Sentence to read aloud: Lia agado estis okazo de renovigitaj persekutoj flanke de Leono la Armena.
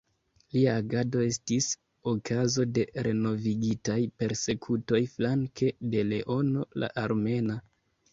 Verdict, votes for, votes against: accepted, 2, 0